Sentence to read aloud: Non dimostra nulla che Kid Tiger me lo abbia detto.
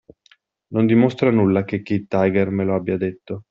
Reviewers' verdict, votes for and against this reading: accepted, 2, 0